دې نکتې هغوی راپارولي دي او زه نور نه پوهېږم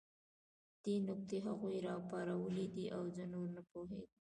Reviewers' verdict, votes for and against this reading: rejected, 0, 2